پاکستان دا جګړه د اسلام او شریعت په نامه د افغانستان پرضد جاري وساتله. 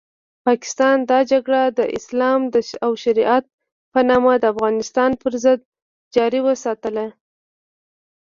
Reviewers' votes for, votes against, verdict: 1, 2, rejected